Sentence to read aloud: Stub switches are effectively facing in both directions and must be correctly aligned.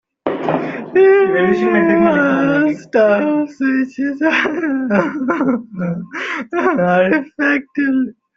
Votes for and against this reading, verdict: 0, 2, rejected